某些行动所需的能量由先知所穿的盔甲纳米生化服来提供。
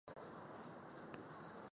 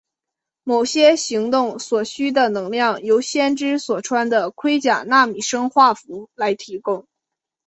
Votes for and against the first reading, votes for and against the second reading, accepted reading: 0, 4, 4, 0, second